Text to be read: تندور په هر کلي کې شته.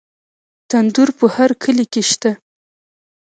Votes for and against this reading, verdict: 1, 2, rejected